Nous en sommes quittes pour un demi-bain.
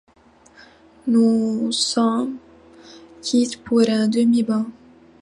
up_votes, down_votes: 2, 0